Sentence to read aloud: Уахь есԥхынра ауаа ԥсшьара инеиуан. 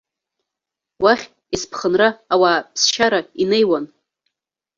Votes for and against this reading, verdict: 1, 2, rejected